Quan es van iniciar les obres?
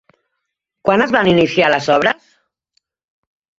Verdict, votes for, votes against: rejected, 0, 2